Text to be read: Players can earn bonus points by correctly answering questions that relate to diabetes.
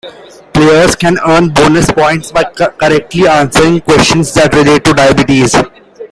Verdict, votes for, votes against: accepted, 2, 0